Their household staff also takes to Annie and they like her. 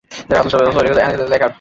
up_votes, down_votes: 0, 2